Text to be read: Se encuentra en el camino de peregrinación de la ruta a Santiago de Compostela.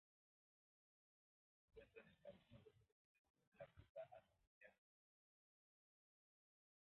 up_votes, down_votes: 0, 2